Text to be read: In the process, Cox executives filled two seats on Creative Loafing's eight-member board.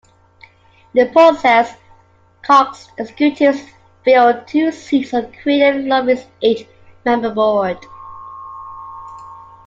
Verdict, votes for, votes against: rejected, 0, 2